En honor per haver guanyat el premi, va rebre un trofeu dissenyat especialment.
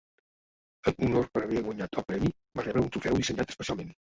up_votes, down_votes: 0, 2